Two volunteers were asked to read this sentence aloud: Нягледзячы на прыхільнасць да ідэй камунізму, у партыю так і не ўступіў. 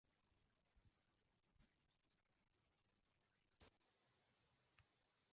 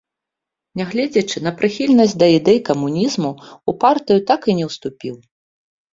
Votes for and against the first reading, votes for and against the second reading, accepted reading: 1, 2, 4, 0, second